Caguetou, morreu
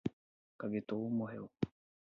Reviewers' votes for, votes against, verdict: 0, 4, rejected